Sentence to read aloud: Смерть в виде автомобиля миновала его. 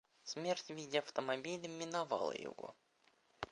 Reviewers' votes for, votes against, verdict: 0, 2, rejected